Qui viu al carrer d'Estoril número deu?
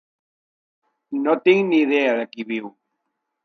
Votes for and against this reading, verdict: 0, 2, rejected